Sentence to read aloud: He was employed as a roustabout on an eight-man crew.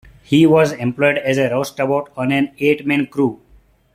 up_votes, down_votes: 1, 2